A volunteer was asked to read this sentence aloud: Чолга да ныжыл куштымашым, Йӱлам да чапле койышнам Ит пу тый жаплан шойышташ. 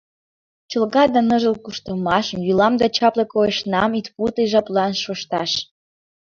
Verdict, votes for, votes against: rejected, 0, 2